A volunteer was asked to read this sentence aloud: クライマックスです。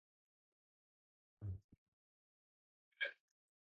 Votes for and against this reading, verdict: 0, 2, rejected